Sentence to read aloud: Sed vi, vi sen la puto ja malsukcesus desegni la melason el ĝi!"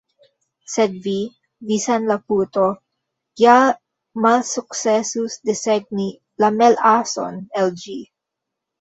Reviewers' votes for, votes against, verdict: 0, 2, rejected